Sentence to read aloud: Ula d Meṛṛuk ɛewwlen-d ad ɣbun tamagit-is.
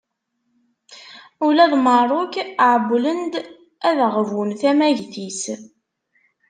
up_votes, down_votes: 2, 0